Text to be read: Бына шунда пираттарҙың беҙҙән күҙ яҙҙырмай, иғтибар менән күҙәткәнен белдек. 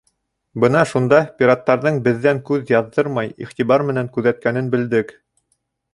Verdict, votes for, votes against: accepted, 2, 0